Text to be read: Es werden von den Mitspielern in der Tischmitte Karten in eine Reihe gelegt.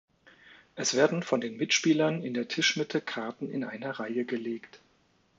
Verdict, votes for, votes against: accepted, 2, 0